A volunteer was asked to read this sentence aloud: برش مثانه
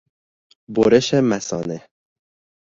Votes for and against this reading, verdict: 1, 2, rejected